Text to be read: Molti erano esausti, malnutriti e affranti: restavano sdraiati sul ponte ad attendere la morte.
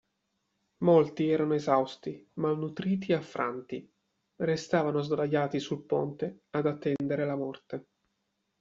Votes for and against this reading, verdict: 2, 0, accepted